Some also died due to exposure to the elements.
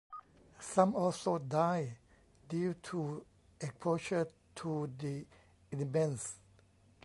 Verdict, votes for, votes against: rejected, 0, 2